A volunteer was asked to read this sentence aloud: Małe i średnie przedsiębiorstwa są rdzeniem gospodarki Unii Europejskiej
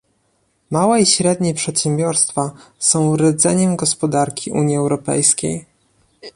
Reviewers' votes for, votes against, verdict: 2, 0, accepted